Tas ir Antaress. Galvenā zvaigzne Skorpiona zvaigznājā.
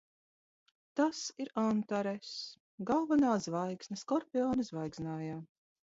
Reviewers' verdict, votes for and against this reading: rejected, 1, 2